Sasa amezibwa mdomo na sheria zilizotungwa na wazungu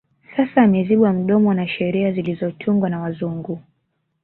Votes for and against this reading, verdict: 1, 2, rejected